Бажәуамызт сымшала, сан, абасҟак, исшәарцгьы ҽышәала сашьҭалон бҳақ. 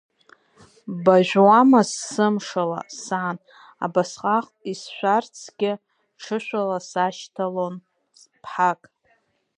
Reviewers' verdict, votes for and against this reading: accepted, 2, 0